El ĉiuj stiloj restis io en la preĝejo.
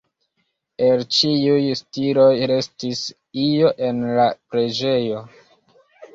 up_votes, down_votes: 2, 0